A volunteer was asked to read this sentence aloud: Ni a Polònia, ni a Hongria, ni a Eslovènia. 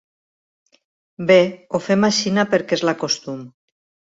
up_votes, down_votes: 0, 3